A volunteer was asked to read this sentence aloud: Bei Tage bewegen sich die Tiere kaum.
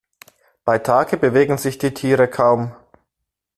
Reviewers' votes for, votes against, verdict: 2, 0, accepted